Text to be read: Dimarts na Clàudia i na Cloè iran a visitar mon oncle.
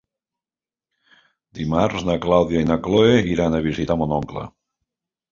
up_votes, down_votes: 3, 1